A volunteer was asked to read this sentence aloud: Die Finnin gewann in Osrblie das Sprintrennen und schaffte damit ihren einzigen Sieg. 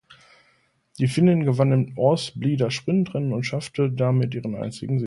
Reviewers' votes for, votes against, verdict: 1, 2, rejected